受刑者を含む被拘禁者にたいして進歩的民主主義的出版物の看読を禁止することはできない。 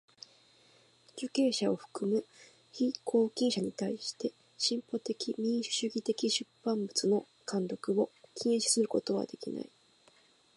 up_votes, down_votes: 2, 0